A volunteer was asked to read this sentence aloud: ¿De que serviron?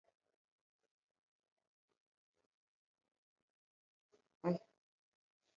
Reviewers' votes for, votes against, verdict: 0, 2, rejected